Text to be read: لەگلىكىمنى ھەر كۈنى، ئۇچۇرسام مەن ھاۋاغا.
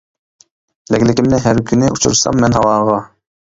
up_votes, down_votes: 1, 2